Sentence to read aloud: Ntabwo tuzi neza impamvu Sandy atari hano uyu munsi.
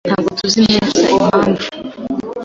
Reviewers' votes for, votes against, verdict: 1, 2, rejected